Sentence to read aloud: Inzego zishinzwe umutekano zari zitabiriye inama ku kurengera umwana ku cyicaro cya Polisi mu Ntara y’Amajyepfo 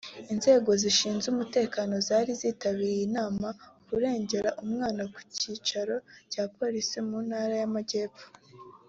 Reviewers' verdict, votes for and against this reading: accepted, 2, 1